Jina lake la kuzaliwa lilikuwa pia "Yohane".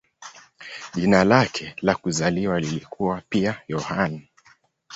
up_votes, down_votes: 2, 0